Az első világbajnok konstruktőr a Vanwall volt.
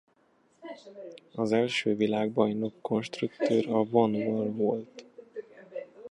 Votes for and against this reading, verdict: 1, 2, rejected